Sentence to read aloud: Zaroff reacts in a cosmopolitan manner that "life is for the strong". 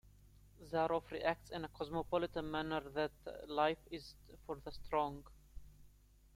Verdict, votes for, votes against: rejected, 0, 2